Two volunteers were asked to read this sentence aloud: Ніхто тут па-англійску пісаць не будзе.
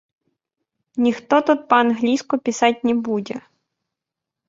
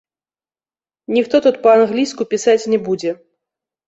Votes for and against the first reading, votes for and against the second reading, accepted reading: 1, 2, 2, 0, second